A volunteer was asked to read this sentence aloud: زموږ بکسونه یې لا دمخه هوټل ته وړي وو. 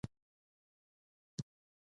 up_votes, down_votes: 1, 2